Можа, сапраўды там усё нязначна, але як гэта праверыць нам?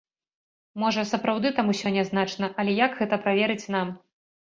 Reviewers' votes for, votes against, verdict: 2, 0, accepted